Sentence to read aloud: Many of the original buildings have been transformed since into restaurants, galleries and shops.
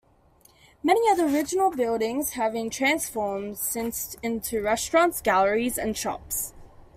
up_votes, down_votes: 2, 0